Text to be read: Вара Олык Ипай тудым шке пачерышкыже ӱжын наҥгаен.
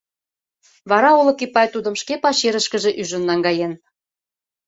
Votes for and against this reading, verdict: 2, 1, accepted